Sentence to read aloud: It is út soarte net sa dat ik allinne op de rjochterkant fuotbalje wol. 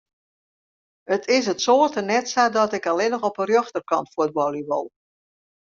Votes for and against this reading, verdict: 2, 1, accepted